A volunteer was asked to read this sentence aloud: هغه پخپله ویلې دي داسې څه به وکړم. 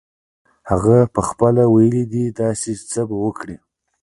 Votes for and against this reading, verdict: 1, 2, rejected